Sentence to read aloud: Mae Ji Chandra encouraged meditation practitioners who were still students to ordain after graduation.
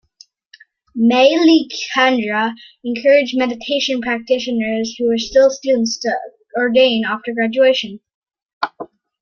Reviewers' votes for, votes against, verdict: 2, 1, accepted